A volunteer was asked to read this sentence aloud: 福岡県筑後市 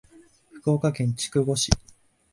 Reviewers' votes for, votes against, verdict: 2, 0, accepted